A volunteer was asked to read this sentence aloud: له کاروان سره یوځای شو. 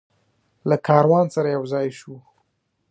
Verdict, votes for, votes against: rejected, 0, 2